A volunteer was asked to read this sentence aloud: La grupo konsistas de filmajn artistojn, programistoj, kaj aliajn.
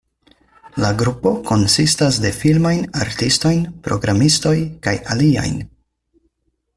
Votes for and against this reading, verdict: 4, 2, accepted